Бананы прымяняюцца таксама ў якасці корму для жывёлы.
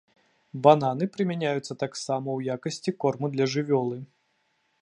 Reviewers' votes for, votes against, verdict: 2, 0, accepted